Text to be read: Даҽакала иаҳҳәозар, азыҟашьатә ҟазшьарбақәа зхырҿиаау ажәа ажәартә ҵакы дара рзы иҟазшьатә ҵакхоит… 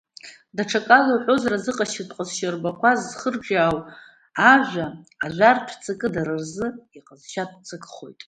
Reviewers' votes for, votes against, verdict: 2, 1, accepted